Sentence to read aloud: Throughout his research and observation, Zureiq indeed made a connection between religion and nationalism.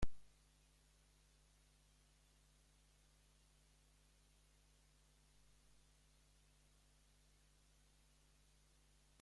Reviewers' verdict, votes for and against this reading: rejected, 0, 2